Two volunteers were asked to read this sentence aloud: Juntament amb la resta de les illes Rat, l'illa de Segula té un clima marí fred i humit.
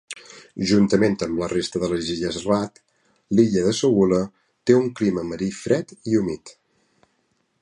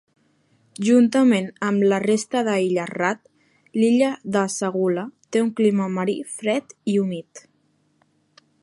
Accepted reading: first